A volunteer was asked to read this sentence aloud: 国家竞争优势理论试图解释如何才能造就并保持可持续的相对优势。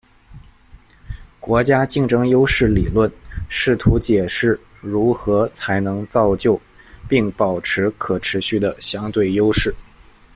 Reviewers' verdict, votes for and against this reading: accepted, 2, 0